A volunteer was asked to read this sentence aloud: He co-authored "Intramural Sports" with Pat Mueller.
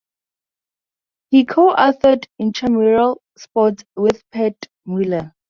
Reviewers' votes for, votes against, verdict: 4, 0, accepted